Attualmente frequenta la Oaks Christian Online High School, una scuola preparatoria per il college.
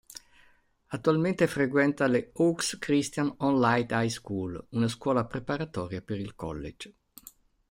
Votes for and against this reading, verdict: 0, 2, rejected